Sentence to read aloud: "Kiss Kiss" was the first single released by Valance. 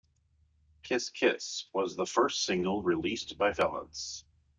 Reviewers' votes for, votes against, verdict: 2, 0, accepted